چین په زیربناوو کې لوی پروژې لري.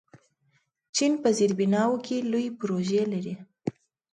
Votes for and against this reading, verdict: 2, 0, accepted